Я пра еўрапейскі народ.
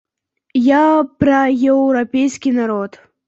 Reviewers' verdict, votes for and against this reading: accepted, 2, 0